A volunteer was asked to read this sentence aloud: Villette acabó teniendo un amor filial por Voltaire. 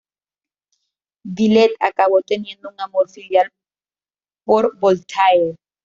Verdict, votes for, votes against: rejected, 1, 2